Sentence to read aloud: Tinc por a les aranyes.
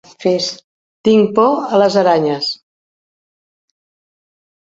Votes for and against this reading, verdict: 1, 2, rejected